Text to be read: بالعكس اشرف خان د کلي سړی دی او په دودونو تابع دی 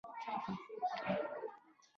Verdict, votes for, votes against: rejected, 0, 2